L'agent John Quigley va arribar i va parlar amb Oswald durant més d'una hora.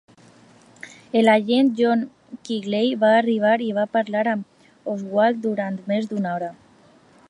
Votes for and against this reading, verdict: 1, 2, rejected